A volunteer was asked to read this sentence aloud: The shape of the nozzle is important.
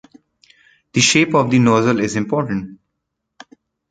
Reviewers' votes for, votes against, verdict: 1, 2, rejected